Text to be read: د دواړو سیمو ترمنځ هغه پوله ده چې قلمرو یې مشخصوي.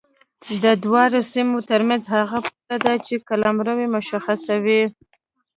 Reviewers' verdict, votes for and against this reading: accepted, 2, 0